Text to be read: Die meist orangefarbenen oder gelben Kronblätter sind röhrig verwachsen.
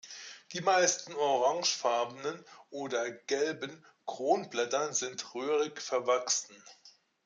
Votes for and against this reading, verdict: 1, 2, rejected